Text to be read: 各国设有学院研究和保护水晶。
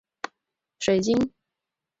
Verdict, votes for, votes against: rejected, 3, 4